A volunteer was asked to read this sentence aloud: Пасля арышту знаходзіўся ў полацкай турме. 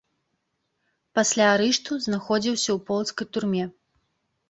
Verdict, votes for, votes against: rejected, 0, 2